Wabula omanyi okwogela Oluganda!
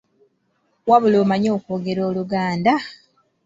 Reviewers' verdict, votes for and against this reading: accepted, 2, 0